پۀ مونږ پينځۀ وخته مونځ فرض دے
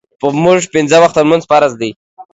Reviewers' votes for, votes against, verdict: 2, 0, accepted